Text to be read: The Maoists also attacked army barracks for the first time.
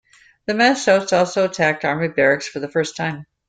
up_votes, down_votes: 1, 2